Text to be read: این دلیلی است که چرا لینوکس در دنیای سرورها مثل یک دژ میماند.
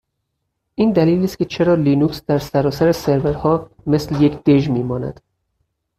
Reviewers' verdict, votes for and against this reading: rejected, 0, 4